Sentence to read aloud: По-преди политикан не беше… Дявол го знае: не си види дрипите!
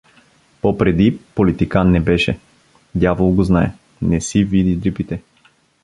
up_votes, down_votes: 2, 0